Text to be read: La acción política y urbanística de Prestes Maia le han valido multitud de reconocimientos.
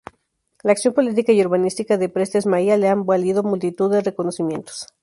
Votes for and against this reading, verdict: 2, 0, accepted